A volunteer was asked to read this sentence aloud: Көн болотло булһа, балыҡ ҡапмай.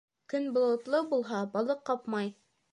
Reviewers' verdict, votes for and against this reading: accepted, 3, 0